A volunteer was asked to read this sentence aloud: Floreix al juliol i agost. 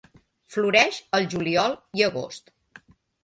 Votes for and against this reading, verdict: 2, 0, accepted